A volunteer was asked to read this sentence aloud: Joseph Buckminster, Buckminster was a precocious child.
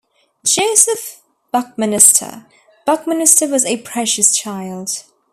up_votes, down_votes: 1, 2